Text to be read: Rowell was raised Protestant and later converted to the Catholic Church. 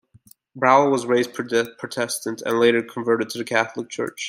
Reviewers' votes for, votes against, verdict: 0, 2, rejected